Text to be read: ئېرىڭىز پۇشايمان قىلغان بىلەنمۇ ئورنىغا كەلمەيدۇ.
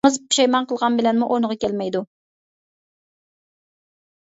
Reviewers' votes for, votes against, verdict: 0, 2, rejected